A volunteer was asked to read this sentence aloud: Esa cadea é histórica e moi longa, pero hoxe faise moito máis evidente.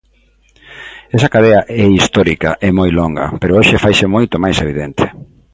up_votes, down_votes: 2, 0